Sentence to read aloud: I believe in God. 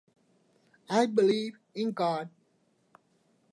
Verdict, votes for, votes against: accepted, 2, 0